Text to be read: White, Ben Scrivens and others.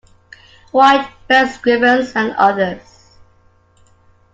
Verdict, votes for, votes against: accepted, 2, 0